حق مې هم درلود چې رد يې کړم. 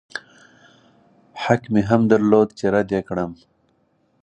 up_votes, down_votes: 2, 4